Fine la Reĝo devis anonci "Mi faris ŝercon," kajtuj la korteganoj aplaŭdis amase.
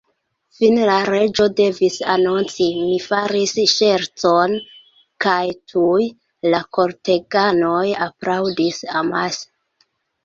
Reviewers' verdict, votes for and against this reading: accepted, 2, 1